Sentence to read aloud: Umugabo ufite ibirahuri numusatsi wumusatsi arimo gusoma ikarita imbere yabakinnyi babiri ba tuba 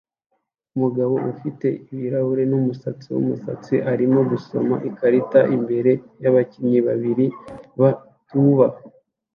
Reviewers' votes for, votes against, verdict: 2, 0, accepted